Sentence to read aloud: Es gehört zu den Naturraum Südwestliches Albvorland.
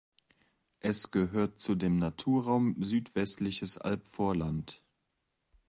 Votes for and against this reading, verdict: 2, 0, accepted